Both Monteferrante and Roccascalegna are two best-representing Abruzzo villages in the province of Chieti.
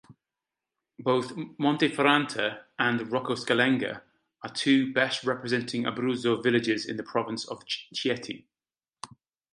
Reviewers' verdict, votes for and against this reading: accepted, 2, 0